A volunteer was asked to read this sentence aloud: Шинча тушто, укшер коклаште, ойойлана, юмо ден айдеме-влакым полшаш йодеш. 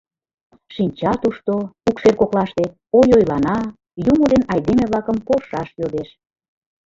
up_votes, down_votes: 2, 0